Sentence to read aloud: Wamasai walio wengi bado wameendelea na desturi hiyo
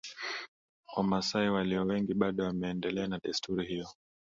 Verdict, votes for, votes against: accepted, 2, 0